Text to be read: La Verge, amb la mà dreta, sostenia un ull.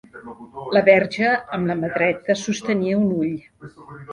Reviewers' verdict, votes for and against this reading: accepted, 3, 1